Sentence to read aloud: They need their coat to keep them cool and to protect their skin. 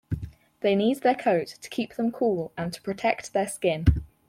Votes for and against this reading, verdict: 4, 0, accepted